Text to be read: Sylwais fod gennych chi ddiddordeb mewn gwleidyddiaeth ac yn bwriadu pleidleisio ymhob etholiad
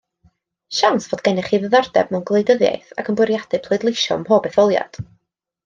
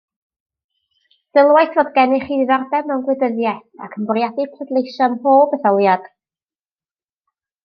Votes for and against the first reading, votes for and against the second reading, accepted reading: 1, 2, 2, 0, second